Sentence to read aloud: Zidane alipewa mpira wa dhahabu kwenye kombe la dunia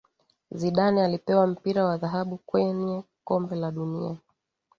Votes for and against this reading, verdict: 2, 0, accepted